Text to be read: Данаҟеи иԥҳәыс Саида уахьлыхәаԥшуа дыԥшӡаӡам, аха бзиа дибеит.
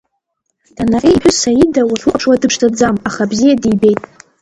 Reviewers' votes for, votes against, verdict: 0, 2, rejected